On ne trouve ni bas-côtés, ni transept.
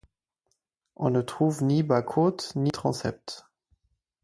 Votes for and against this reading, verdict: 2, 4, rejected